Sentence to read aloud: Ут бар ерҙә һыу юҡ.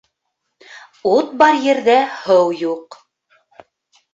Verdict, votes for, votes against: accepted, 2, 0